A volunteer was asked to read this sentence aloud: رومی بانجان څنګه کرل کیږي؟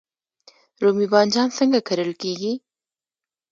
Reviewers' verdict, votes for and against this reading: rejected, 1, 2